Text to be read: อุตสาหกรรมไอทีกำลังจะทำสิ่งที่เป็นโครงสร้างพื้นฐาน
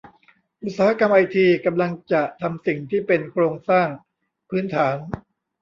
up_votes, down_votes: 1, 2